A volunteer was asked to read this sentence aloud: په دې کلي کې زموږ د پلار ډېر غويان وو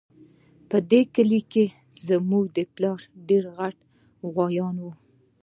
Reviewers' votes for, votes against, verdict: 1, 2, rejected